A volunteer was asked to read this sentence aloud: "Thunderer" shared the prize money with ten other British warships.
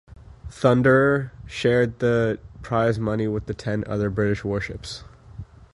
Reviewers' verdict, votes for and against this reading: rejected, 1, 2